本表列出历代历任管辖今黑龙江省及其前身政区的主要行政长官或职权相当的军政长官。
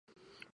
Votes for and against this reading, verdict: 0, 3, rejected